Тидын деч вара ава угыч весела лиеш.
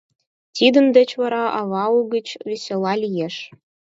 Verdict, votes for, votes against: accepted, 4, 0